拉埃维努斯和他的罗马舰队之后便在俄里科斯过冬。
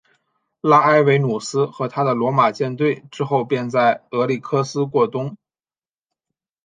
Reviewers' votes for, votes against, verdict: 3, 0, accepted